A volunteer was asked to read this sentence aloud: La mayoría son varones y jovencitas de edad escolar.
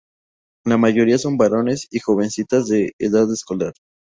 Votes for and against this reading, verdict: 0, 2, rejected